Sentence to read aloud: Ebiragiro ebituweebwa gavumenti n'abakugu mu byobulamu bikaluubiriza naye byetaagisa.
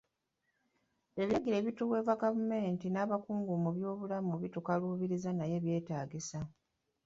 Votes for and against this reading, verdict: 0, 3, rejected